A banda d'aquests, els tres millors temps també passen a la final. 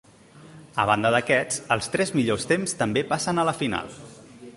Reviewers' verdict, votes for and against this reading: accepted, 3, 0